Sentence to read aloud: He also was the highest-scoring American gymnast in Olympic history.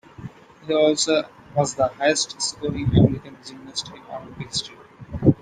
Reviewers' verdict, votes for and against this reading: rejected, 0, 2